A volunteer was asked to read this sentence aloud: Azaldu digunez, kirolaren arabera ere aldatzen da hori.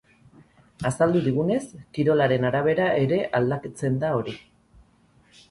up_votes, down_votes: 2, 4